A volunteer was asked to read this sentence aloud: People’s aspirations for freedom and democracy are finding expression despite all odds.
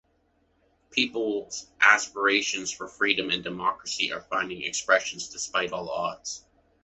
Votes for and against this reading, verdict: 1, 2, rejected